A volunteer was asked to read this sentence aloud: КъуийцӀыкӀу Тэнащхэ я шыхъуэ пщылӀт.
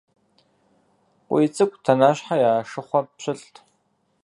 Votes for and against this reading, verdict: 2, 4, rejected